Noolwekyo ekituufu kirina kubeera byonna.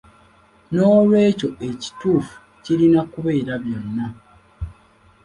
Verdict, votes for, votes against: accepted, 2, 0